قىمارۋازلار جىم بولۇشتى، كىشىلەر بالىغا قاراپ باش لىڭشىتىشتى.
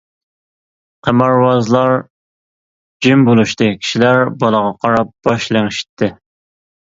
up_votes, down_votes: 1, 2